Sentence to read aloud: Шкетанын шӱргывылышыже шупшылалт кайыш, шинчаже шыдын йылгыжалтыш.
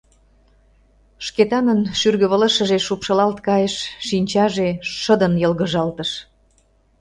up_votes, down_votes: 2, 0